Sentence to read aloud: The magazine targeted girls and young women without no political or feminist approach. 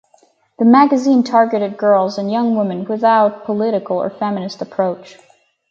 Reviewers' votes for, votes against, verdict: 2, 4, rejected